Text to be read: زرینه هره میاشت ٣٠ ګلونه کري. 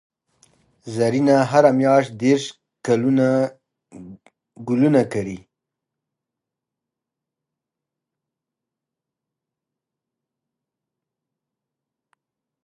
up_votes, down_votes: 0, 2